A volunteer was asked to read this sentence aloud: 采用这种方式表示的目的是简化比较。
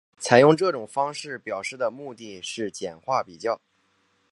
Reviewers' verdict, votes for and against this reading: accepted, 3, 0